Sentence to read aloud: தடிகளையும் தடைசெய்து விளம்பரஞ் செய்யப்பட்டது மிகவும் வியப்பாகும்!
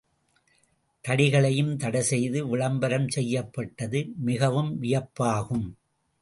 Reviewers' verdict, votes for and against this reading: accepted, 2, 0